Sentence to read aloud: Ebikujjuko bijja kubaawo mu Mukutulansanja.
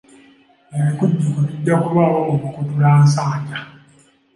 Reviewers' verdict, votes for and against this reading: rejected, 0, 2